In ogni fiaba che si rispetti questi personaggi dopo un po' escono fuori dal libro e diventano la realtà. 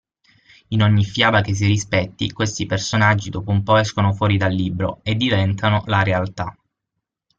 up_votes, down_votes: 6, 0